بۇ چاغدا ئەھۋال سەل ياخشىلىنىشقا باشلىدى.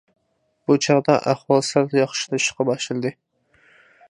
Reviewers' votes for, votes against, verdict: 2, 0, accepted